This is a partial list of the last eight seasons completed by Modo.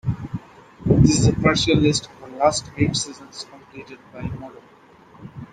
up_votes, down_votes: 0, 2